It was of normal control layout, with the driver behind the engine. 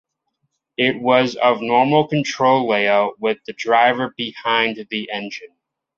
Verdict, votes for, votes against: accepted, 6, 1